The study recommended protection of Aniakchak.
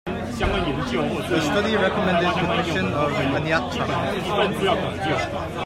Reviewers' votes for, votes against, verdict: 2, 0, accepted